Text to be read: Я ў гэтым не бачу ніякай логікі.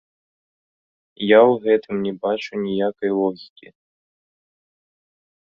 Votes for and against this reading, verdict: 2, 0, accepted